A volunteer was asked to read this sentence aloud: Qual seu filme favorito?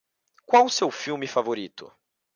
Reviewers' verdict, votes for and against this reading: accepted, 2, 0